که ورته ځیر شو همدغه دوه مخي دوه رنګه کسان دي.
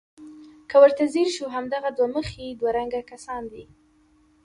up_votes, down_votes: 2, 0